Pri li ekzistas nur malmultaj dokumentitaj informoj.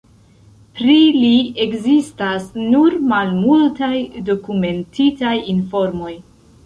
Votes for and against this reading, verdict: 0, 2, rejected